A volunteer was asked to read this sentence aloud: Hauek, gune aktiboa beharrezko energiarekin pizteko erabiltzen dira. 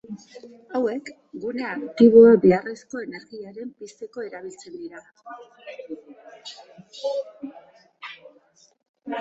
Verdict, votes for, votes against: accepted, 2, 1